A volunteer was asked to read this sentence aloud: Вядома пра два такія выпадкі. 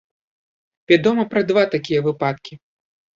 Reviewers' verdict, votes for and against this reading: rejected, 0, 2